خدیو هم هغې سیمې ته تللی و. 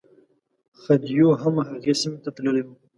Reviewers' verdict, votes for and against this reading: accepted, 2, 0